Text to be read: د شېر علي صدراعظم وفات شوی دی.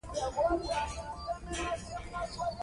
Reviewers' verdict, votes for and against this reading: rejected, 0, 2